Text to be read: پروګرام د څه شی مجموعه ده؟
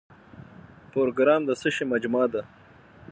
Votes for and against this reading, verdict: 0, 6, rejected